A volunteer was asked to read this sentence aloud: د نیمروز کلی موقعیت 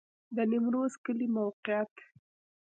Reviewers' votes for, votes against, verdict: 1, 2, rejected